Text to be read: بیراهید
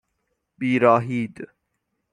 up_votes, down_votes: 6, 0